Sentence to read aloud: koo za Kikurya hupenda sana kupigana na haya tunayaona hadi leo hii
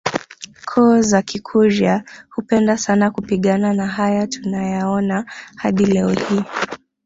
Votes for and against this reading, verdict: 1, 2, rejected